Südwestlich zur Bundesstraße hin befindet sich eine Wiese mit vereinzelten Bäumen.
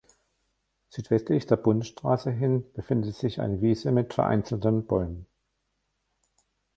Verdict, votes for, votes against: rejected, 0, 2